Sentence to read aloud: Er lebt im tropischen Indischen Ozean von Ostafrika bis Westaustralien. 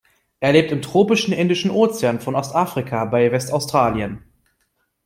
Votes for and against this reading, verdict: 0, 2, rejected